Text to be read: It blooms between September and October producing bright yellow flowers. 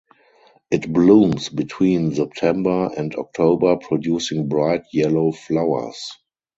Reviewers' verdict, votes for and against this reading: accepted, 12, 4